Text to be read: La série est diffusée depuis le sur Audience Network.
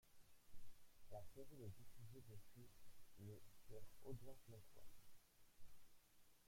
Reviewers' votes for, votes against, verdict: 1, 2, rejected